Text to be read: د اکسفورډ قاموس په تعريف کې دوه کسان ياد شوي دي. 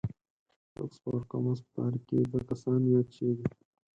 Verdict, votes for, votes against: rejected, 0, 4